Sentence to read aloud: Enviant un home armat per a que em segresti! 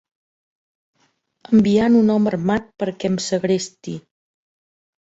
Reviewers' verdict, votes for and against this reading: accepted, 2, 0